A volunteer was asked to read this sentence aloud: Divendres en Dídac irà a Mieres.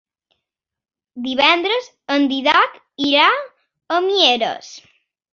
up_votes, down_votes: 1, 2